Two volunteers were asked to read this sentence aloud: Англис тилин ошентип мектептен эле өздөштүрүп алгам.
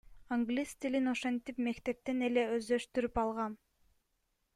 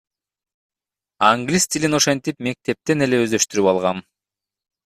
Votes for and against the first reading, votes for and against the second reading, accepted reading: 1, 2, 2, 1, second